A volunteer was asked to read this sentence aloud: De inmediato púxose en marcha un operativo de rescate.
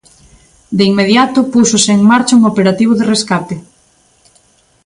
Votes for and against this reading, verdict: 2, 0, accepted